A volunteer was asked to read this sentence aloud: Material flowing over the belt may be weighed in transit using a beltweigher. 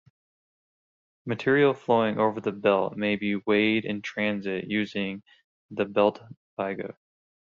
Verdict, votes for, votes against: accepted, 2, 0